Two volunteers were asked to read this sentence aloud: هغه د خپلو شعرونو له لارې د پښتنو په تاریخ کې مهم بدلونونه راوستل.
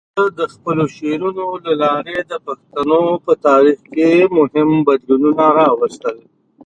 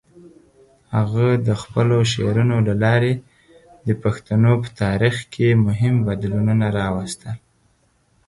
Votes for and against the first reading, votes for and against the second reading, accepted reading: 1, 2, 4, 0, second